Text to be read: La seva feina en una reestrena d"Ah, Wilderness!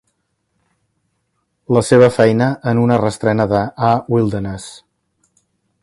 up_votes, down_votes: 2, 1